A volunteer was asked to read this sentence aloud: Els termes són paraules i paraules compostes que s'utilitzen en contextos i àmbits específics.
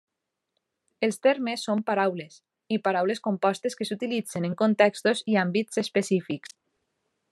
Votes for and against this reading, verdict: 3, 0, accepted